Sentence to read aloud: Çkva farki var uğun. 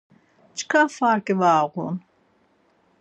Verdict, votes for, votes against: accepted, 4, 0